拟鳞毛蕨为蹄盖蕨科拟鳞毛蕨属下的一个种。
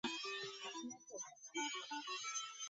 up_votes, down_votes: 2, 3